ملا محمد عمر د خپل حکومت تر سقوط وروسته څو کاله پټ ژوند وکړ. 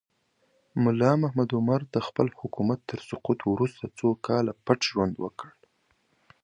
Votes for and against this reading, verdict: 3, 0, accepted